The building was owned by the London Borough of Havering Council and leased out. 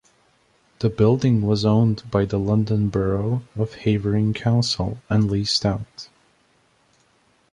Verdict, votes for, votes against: accepted, 2, 0